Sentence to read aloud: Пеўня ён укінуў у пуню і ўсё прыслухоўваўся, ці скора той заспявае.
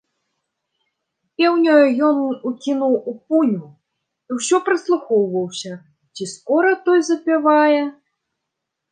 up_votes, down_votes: 0, 2